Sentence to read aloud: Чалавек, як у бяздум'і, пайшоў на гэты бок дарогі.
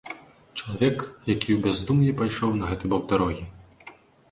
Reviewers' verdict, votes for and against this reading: rejected, 1, 2